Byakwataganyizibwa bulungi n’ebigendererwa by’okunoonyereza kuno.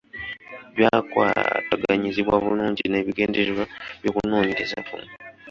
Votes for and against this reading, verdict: 0, 2, rejected